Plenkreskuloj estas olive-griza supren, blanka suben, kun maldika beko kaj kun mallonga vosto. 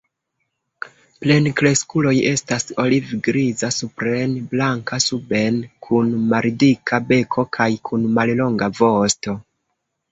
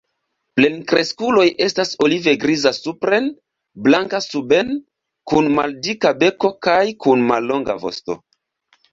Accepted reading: second